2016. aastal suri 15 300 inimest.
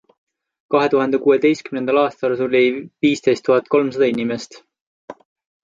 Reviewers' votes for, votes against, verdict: 0, 2, rejected